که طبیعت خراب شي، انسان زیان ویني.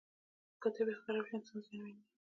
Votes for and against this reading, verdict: 0, 2, rejected